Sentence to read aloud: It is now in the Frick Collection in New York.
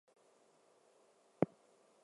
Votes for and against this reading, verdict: 0, 2, rejected